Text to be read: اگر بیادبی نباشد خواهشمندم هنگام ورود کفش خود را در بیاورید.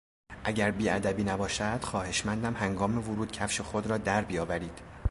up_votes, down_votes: 2, 0